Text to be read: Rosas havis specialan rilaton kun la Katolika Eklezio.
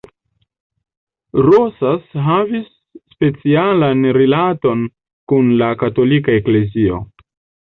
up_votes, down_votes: 1, 2